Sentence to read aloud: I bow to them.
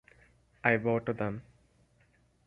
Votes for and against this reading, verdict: 4, 0, accepted